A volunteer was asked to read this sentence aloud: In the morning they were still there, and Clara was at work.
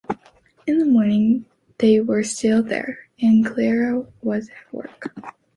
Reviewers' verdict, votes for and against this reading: accepted, 2, 0